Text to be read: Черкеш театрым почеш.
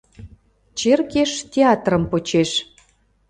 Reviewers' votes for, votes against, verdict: 3, 0, accepted